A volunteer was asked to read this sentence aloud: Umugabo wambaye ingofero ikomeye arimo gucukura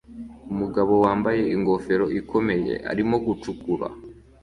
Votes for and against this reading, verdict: 2, 0, accepted